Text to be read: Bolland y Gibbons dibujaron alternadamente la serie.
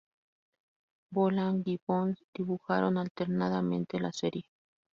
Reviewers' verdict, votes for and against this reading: rejected, 2, 2